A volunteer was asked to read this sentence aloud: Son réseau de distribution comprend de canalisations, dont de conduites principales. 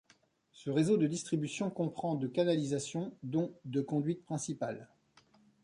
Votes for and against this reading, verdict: 0, 2, rejected